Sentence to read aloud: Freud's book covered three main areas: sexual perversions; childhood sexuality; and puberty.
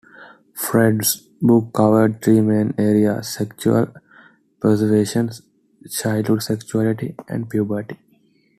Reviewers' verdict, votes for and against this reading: rejected, 1, 2